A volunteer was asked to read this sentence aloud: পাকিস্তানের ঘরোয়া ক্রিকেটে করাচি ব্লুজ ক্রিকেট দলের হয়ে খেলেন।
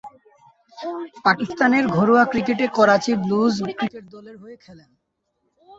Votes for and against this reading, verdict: 0, 2, rejected